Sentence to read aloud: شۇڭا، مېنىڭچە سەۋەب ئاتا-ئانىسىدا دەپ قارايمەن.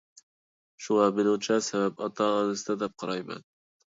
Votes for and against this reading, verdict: 1, 2, rejected